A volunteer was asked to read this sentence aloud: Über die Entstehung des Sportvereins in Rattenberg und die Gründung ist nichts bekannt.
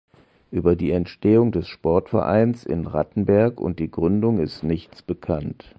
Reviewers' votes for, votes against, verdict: 2, 0, accepted